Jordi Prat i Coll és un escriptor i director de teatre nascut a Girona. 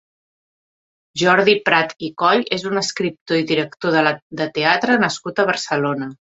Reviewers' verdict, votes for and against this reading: rejected, 0, 2